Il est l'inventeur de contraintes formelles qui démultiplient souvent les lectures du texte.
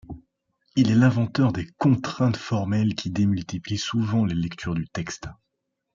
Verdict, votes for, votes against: accepted, 2, 0